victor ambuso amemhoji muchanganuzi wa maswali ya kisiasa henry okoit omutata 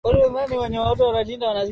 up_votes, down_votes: 0, 12